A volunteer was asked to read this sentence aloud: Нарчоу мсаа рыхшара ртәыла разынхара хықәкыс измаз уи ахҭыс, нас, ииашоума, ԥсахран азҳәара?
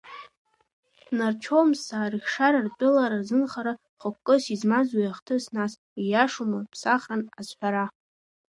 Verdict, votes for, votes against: rejected, 0, 2